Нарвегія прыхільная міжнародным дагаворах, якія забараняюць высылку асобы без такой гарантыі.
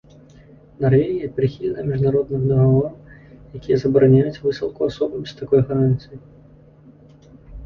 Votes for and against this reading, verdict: 0, 2, rejected